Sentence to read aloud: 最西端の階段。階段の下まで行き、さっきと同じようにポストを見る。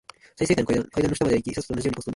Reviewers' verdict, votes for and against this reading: rejected, 0, 2